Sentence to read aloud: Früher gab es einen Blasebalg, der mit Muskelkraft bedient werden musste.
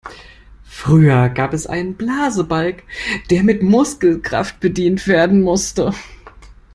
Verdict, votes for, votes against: rejected, 1, 2